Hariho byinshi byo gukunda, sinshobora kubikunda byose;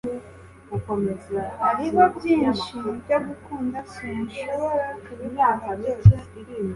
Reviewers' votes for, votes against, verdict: 1, 2, rejected